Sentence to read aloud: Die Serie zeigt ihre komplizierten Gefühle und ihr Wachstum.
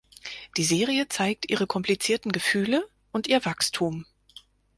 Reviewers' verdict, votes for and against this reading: accepted, 4, 0